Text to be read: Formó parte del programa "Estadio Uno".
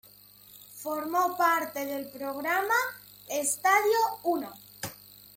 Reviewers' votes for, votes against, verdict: 2, 0, accepted